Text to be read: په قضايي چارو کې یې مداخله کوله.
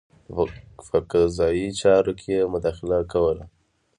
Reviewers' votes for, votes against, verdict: 2, 1, accepted